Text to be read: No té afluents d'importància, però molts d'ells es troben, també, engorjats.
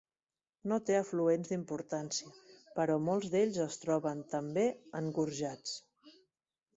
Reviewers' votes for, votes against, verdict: 2, 0, accepted